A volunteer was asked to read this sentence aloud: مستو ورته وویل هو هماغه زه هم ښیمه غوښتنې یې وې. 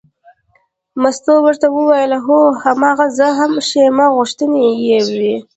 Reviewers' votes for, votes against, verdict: 2, 0, accepted